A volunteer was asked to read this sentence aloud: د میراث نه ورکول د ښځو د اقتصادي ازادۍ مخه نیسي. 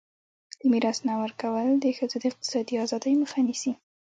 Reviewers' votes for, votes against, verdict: 2, 1, accepted